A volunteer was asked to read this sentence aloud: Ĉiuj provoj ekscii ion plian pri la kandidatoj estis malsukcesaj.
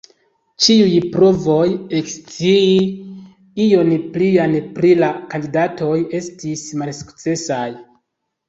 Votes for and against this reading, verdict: 2, 0, accepted